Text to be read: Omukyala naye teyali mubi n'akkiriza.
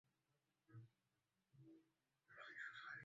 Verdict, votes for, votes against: rejected, 0, 2